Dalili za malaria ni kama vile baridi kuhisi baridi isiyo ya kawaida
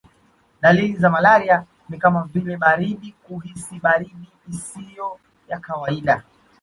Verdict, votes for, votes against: accepted, 2, 0